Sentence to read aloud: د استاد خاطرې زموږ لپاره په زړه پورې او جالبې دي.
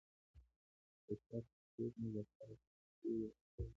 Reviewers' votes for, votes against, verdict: 1, 2, rejected